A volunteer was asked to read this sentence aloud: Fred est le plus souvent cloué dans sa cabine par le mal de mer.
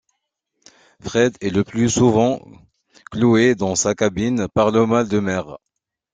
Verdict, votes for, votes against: accepted, 2, 0